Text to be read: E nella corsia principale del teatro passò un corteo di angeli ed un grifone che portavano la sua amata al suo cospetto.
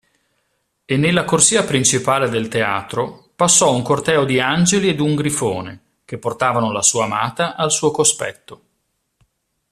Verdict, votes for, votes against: accepted, 2, 1